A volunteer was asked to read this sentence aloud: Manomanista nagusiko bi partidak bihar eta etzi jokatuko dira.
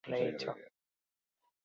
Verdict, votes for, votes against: rejected, 0, 6